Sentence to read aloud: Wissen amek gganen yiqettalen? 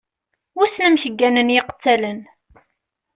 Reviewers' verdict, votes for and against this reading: accepted, 2, 0